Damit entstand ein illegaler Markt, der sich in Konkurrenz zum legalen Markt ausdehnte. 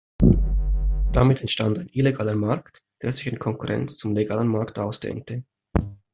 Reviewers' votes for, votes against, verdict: 2, 0, accepted